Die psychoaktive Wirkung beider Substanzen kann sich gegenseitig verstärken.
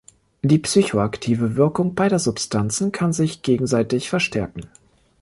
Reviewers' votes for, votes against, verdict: 2, 0, accepted